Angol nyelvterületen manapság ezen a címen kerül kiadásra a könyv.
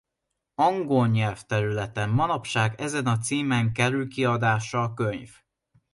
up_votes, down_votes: 0, 2